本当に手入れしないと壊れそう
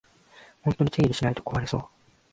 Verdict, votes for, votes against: rejected, 1, 2